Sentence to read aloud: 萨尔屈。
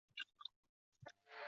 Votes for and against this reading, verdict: 1, 2, rejected